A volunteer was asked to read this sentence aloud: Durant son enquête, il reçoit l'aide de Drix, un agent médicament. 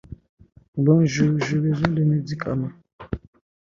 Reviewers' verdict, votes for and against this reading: rejected, 0, 2